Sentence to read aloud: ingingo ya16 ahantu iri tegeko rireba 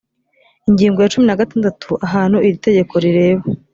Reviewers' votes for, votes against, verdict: 0, 2, rejected